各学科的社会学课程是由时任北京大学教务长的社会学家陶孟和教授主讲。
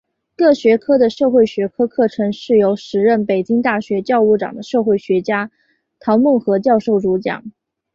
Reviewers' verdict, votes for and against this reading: accepted, 3, 0